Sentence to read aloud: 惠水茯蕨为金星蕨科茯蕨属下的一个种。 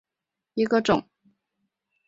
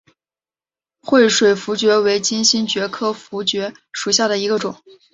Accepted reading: second